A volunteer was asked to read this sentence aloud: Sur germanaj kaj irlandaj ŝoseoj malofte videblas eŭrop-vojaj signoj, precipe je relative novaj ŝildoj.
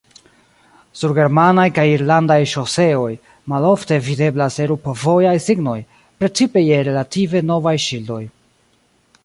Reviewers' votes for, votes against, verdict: 1, 2, rejected